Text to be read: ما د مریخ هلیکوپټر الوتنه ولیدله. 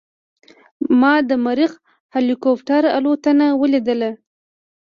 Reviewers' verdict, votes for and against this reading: accepted, 2, 0